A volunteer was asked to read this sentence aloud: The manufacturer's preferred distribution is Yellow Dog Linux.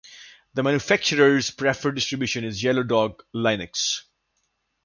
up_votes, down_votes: 2, 0